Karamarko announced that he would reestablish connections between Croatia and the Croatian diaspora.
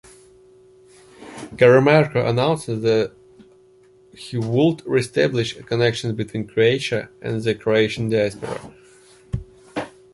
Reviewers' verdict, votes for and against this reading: rejected, 0, 2